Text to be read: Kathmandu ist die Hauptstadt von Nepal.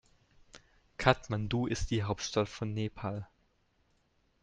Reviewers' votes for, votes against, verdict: 2, 0, accepted